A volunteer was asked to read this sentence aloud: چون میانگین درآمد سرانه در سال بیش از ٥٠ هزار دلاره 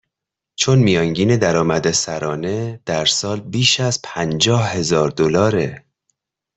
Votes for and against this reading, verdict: 0, 2, rejected